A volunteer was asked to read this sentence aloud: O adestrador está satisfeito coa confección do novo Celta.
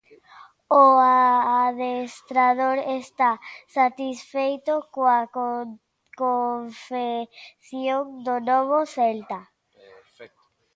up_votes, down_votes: 0, 4